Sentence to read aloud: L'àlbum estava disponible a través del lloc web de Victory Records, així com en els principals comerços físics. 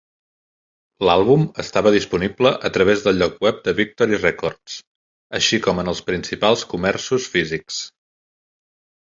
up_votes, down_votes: 3, 0